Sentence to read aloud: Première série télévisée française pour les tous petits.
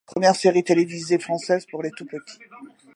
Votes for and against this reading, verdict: 2, 0, accepted